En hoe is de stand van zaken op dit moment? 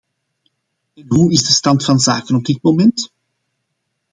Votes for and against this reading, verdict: 0, 2, rejected